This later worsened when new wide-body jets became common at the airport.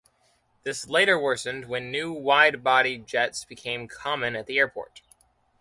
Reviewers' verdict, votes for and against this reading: accepted, 2, 0